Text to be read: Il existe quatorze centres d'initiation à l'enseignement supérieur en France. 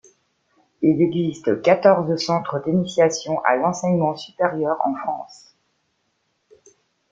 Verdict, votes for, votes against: accepted, 2, 0